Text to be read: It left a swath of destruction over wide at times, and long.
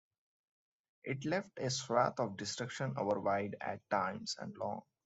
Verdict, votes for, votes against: rejected, 1, 2